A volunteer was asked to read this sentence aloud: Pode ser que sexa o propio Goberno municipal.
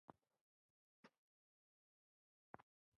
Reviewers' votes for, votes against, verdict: 0, 2, rejected